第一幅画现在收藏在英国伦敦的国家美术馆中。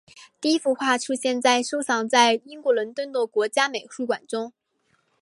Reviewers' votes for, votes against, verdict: 1, 2, rejected